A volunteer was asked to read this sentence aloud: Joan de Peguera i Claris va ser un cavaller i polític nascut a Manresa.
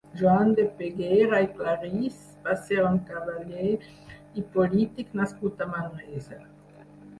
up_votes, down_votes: 2, 4